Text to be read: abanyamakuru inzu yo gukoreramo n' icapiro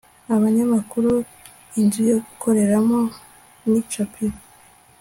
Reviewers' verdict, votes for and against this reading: accepted, 2, 0